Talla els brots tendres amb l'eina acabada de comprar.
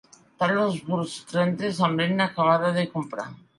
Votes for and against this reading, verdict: 0, 2, rejected